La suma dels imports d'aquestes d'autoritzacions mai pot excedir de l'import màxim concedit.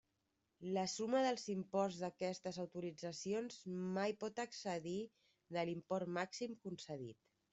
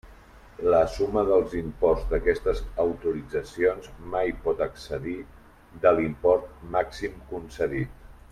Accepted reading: first